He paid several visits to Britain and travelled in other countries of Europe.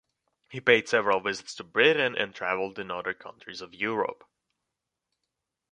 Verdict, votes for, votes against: accepted, 2, 0